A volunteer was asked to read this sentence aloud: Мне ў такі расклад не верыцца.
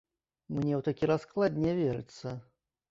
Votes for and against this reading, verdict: 2, 0, accepted